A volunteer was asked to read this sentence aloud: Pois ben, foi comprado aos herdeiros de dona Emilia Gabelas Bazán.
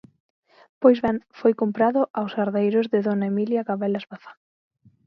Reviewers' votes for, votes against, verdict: 27, 0, accepted